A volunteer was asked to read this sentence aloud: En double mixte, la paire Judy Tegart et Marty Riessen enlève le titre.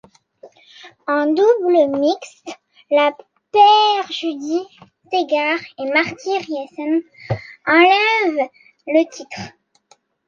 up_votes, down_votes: 2, 1